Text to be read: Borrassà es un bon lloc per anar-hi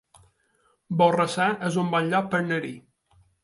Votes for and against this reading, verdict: 1, 2, rejected